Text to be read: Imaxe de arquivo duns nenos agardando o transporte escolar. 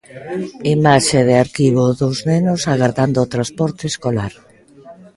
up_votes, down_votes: 0, 2